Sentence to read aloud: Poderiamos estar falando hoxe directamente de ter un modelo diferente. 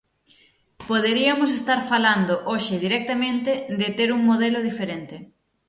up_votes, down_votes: 3, 6